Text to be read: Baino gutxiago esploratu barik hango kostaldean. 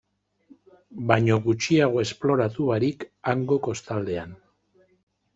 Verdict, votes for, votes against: accepted, 2, 0